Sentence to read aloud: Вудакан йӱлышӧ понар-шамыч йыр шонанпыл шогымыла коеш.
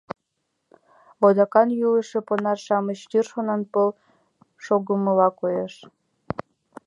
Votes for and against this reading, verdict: 2, 1, accepted